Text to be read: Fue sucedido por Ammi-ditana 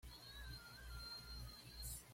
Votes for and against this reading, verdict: 1, 2, rejected